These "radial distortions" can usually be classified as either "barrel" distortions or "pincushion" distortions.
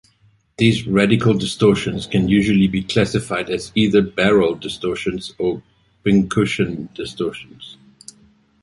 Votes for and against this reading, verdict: 0, 2, rejected